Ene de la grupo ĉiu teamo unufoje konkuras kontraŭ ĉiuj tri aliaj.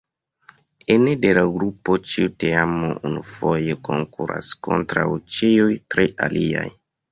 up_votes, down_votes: 2, 1